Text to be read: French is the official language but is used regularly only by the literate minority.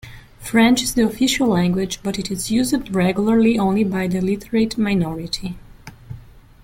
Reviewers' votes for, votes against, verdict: 1, 2, rejected